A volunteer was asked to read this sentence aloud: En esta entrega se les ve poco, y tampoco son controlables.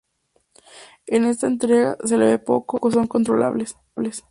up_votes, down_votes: 0, 2